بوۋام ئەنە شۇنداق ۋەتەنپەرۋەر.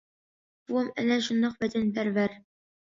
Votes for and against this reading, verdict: 1, 2, rejected